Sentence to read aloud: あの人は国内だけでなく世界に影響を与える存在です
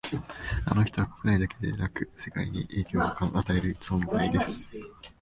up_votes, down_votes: 1, 2